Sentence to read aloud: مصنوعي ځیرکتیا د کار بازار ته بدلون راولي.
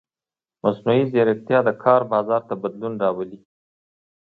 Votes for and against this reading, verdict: 1, 2, rejected